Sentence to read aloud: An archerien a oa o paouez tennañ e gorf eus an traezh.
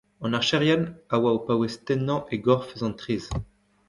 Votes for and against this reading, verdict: 1, 2, rejected